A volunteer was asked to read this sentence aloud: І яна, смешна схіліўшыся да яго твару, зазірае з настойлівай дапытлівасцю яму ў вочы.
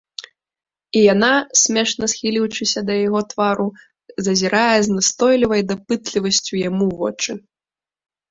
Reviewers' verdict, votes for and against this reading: accepted, 2, 0